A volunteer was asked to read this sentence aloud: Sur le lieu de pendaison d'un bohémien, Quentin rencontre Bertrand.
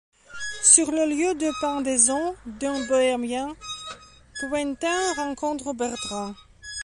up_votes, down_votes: 0, 2